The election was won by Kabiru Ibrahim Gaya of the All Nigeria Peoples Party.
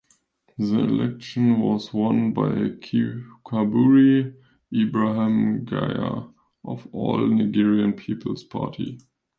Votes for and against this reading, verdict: 0, 3, rejected